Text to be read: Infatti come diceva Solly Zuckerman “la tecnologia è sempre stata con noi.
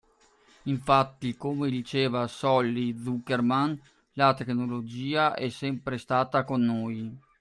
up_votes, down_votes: 2, 0